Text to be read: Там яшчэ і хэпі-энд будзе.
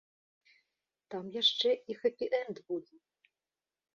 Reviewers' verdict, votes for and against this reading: accepted, 2, 0